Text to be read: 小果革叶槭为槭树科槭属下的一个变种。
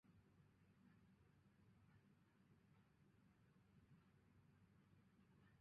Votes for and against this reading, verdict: 1, 2, rejected